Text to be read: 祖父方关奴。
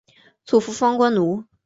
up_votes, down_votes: 5, 0